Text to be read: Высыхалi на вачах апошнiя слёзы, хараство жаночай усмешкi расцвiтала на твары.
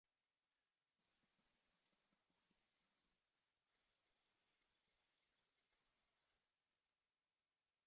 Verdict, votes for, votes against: rejected, 0, 2